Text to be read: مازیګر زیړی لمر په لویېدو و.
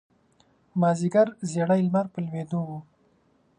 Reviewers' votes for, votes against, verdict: 2, 0, accepted